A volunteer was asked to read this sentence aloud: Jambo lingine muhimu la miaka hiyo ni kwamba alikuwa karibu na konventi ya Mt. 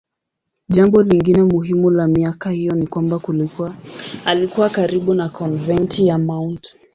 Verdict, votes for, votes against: rejected, 0, 2